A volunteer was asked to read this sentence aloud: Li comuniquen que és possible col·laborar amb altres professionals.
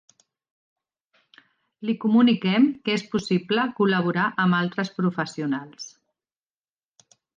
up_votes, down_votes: 0, 2